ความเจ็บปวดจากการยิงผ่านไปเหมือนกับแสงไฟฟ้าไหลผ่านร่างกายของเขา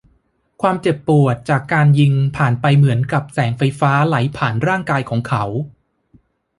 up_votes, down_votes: 2, 0